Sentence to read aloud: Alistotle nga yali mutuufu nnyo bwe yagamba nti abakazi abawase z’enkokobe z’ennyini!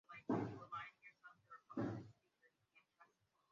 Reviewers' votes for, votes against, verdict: 0, 2, rejected